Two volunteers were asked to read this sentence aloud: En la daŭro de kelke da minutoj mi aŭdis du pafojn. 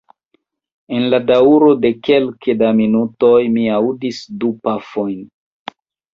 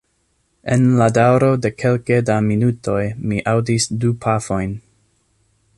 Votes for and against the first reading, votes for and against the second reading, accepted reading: 1, 2, 2, 0, second